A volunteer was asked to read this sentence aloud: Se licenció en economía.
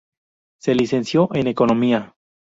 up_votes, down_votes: 0, 2